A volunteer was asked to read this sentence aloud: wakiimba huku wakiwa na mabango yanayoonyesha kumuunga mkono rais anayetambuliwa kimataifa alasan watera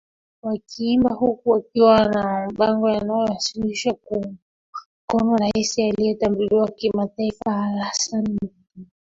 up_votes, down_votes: 0, 2